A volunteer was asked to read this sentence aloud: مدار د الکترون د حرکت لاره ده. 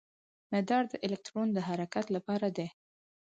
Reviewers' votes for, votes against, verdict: 4, 0, accepted